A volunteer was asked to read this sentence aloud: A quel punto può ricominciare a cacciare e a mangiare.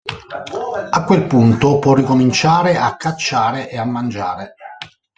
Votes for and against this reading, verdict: 1, 2, rejected